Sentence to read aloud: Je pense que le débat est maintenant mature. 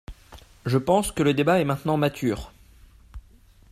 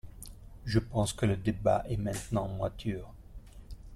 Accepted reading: first